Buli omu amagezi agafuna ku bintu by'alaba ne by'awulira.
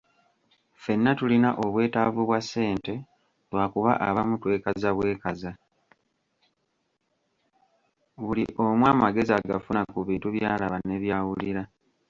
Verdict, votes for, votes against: rejected, 0, 2